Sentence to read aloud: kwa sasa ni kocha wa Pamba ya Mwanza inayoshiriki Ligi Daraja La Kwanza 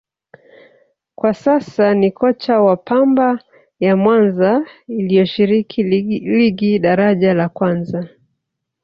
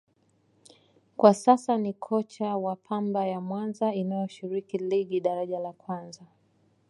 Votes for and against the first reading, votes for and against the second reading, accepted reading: 1, 2, 2, 0, second